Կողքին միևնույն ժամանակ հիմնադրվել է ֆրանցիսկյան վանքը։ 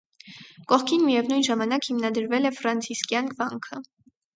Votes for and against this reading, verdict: 2, 0, accepted